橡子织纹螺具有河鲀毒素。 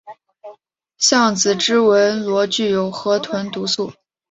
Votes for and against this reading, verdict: 1, 2, rejected